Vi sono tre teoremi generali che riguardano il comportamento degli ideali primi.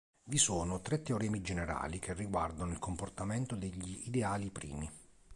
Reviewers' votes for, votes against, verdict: 3, 0, accepted